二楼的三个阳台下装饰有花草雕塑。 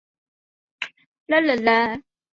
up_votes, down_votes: 0, 2